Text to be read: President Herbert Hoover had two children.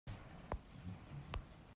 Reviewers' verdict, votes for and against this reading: rejected, 0, 2